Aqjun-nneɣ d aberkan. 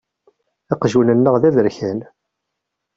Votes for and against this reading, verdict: 2, 0, accepted